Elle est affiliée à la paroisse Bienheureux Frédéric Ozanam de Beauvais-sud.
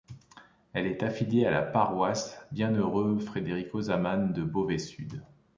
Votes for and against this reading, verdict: 1, 2, rejected